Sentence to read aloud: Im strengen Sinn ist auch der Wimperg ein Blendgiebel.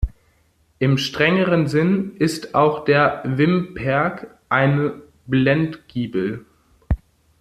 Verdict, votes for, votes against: rejected, 0, 2